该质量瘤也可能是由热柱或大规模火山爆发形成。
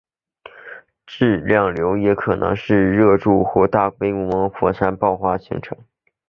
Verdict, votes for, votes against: rejected, 0, 2